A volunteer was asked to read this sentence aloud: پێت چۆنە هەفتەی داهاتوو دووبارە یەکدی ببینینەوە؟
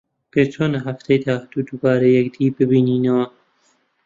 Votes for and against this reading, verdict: 2, 0, accepted